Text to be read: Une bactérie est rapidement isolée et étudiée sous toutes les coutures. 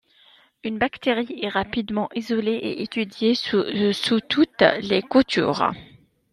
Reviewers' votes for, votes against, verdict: 0, 2, rejected